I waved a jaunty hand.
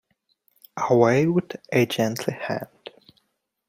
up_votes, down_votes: 0, 2